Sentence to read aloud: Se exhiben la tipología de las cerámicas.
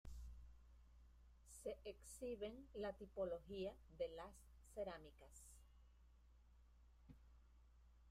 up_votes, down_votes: 0, 2